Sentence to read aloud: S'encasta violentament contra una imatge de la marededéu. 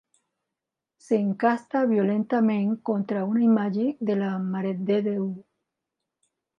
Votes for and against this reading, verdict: 2, 1, accepted